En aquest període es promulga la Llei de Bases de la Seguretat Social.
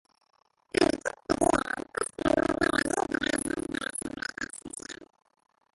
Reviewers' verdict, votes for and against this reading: rejected, 0, 2